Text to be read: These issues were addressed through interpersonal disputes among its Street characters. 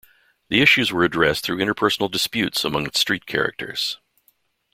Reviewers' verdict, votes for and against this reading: rejected, 0, 2